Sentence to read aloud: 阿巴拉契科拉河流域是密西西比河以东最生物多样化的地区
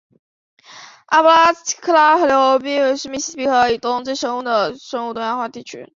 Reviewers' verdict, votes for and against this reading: rejected, 0, 2